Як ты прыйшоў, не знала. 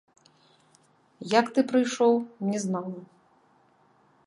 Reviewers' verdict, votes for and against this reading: rejected, 1, 3